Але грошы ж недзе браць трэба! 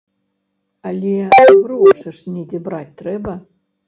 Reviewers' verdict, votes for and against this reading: rejected, 0, 2